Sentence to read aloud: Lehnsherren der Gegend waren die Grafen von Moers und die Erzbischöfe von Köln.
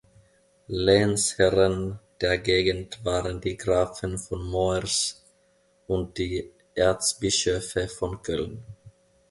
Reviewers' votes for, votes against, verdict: 2, 0, accepted